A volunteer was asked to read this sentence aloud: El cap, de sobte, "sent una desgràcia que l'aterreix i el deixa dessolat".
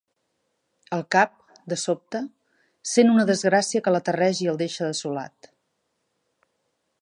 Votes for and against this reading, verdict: 2, 0, accepted